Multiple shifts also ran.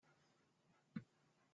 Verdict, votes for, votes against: rejected, 0, 2